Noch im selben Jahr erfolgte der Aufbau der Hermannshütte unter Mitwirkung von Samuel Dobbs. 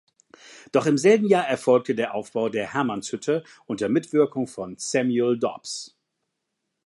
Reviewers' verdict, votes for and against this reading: rejected, 0, 2